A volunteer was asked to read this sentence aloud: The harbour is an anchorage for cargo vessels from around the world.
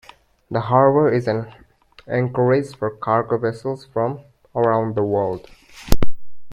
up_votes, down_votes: 2, 1